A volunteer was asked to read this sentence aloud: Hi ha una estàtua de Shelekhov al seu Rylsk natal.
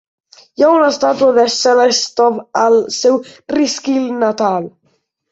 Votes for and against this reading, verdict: 1, 2, rejected